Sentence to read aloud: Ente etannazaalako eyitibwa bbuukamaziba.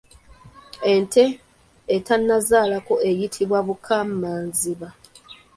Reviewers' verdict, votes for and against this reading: rejected, 1, 2